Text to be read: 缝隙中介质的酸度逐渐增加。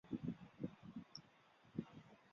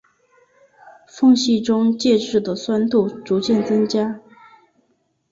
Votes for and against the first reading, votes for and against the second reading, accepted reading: 0, 4, 3, 0, second